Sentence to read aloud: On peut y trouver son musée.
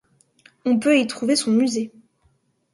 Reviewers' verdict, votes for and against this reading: accepted, 2, 0